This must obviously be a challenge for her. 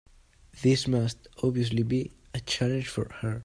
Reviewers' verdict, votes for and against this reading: accepted, 2, 0